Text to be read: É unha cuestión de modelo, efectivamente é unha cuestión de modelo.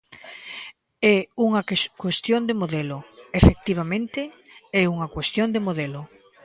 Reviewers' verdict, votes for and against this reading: rejected, 0, 2